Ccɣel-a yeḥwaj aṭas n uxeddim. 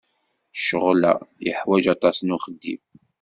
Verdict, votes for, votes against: accepted, 2, 0